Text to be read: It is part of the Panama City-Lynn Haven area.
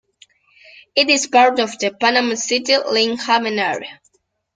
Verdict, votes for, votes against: rejected, 0, 2